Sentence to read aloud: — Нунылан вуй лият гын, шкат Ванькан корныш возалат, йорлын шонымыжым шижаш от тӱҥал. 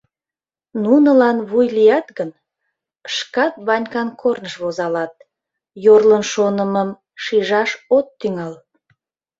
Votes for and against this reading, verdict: 0, 2, rejected